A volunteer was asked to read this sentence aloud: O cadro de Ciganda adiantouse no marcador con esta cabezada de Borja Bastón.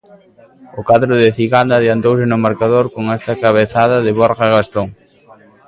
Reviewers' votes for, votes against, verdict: 2, 1, accepted